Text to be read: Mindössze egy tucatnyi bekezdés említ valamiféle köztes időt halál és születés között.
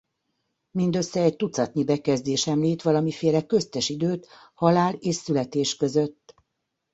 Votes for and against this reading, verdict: 2, 0, accepted